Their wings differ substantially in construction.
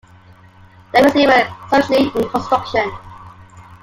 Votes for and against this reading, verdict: 0, 2, rejected